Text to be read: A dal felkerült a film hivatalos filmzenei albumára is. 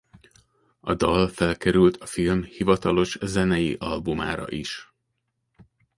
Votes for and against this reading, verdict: 1, 2, rejected